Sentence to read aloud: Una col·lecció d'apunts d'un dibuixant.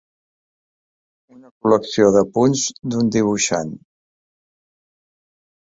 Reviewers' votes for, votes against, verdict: 1, 2, rejected